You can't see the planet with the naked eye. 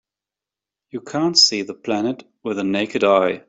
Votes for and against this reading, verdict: 2, 0, accepted